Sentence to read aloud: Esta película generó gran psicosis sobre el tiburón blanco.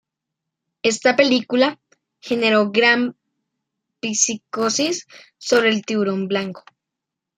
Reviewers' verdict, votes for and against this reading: rejected, 0, 2